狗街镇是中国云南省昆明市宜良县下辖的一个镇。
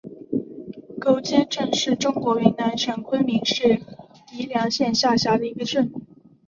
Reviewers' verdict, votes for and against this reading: accepted, 3, 1